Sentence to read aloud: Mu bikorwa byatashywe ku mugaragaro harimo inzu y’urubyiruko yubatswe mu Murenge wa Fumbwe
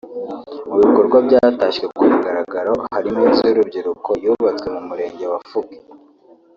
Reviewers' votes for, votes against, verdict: 1, 2, rejected